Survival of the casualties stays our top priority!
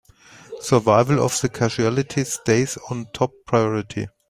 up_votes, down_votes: 2, 5